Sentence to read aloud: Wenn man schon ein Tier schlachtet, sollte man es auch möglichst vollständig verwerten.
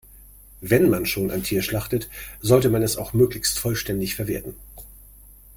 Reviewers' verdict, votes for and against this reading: accepted, 2, 0